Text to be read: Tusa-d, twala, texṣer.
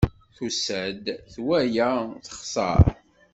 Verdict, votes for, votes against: accepted, 2, 0